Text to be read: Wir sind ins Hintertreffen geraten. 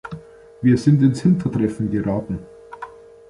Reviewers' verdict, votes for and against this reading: accepted, 2, 0